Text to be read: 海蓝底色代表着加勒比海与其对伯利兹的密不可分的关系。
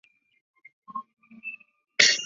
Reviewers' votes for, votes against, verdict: 0, 2, rejected